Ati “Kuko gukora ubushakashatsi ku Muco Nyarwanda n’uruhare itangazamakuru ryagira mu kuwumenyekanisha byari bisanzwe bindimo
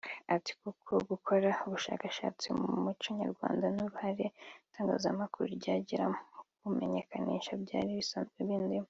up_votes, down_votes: 2, 1